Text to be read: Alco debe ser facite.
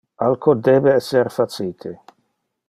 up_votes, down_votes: 0, 2